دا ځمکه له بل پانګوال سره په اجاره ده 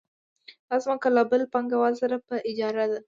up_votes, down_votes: 2, 0